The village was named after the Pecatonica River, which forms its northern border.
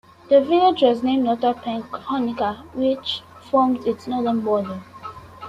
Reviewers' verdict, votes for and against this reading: rejected, 1, 2